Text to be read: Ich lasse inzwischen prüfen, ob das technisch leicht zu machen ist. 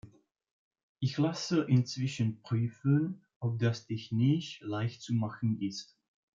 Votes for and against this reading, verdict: 2, 0, accepted